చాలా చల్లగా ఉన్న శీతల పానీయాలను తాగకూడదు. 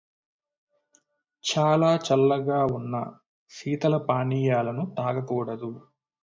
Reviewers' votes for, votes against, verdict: 2, 0, accepted